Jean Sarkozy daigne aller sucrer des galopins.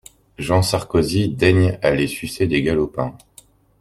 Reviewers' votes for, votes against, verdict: 0, 2, rejected